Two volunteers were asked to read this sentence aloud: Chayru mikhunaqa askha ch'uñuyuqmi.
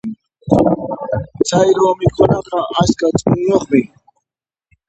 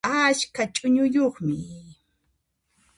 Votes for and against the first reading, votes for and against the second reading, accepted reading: 2, 0, 0, 2, first